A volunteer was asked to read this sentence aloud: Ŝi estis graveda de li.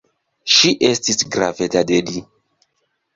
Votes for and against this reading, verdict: 1, 2, rejected